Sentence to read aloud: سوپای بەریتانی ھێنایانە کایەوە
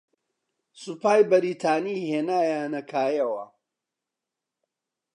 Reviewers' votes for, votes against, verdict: 2, 0, accepted